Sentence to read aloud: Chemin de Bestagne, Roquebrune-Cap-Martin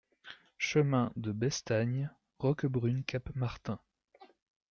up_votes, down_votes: 2, 0